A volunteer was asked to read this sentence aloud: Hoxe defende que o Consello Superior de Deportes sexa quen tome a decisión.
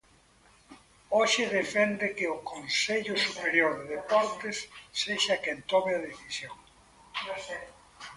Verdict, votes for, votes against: rejected, 1, 2